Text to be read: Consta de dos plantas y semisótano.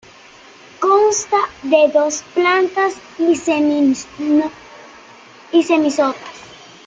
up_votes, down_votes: 0, 2